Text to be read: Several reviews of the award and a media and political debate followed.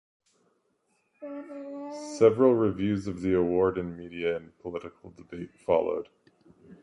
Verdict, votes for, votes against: accepted, 2, 0